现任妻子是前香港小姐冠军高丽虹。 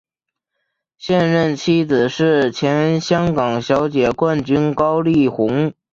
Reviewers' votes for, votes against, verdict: 3, 1, accepted